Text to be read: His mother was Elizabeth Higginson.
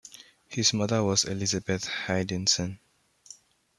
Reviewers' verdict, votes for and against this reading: rejected, 1, 2